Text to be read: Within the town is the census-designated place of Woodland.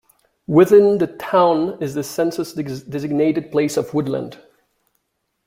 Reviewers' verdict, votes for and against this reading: rejected, 1, 2